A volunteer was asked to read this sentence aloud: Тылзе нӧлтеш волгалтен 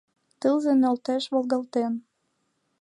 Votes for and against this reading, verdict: 2, 1, accepted